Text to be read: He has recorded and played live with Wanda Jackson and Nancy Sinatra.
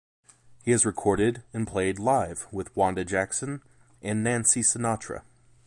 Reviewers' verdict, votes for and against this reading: accepted, 2, 0